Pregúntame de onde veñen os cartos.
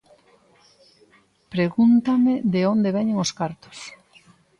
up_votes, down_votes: 2, 0